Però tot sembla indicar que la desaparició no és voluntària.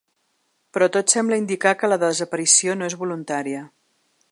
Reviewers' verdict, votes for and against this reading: accepted, 5, 0